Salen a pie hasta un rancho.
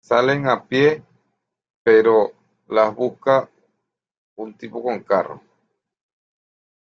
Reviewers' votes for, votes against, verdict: 0, 2, rejected